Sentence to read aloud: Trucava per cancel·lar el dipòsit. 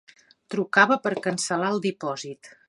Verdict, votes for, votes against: accepted, 3, 0